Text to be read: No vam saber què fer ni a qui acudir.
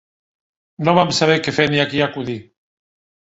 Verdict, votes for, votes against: accepted, 2, 0